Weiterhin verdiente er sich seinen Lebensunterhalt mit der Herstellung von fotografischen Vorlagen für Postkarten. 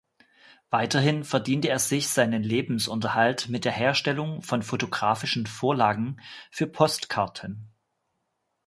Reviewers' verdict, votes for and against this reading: accepted, 2, 0